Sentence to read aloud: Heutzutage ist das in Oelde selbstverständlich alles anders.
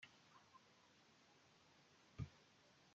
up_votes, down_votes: 0, 2